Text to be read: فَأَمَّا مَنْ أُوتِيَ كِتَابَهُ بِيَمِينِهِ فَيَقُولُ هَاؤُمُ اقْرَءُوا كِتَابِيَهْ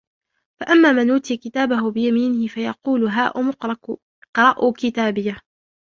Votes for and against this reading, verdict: 0, 2, rejected